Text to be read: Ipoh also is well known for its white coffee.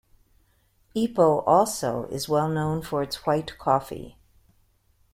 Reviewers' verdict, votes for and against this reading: accepted, 2, 0